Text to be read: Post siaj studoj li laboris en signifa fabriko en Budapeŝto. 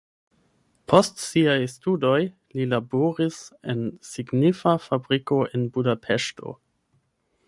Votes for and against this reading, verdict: 1, 2, rejected